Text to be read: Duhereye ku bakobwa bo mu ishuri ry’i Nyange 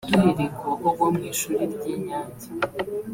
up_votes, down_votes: 1, 2